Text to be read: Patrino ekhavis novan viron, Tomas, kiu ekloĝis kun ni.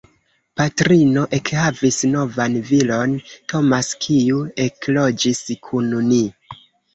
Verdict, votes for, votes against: rejected, 0, 2